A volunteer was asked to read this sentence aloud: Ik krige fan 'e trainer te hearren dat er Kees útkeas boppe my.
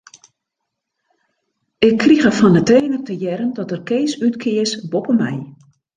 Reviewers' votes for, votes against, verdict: 0, 2, rejected